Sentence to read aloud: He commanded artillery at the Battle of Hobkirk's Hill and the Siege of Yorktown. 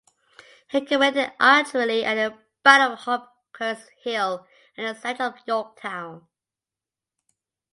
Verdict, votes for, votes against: rejected, 0, 2